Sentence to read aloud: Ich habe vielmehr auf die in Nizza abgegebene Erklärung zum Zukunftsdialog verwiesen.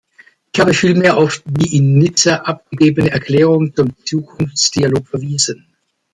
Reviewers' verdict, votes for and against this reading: rejected, 1, 2